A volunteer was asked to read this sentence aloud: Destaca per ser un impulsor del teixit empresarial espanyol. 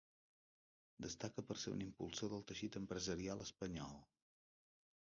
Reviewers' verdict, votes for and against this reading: rejected, 2, 3